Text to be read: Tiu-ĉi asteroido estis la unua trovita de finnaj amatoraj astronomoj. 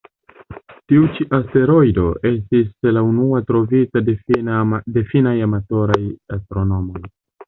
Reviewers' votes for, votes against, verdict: 1, 2, rejected